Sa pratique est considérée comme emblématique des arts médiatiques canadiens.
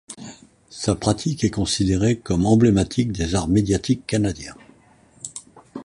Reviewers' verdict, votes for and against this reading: accepted, 2, 0